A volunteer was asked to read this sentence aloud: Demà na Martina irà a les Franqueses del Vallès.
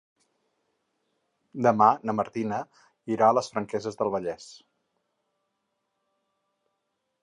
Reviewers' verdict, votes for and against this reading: accepted, 6, 0